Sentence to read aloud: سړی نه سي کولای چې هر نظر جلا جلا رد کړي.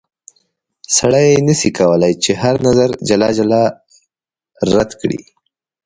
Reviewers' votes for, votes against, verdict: 2, 0, accepted